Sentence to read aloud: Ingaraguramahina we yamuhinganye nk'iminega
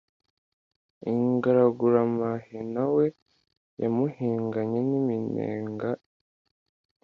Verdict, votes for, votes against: accepted, 2, 0